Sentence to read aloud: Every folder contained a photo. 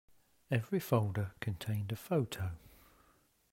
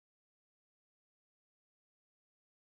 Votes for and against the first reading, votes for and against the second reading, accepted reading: 2, 0, 0, 2, first